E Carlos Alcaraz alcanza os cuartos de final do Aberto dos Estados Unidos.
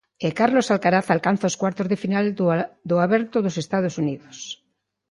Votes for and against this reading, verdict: 0, 2, rejected